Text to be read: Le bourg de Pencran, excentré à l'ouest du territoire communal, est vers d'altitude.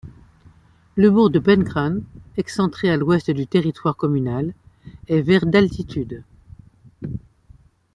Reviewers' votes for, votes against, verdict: 2, 0, accepted